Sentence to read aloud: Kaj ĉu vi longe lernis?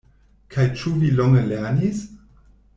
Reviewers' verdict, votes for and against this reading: accepted, 2, 0